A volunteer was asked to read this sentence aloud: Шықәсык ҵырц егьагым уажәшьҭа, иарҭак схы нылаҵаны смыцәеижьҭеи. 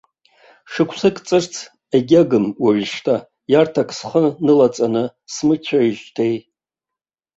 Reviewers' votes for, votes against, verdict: 2, 0, accepted